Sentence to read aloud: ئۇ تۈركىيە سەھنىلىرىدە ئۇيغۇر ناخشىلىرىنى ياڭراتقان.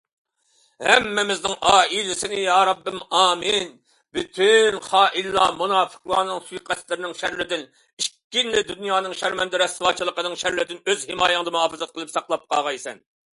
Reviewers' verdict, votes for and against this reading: rejected, 0, 2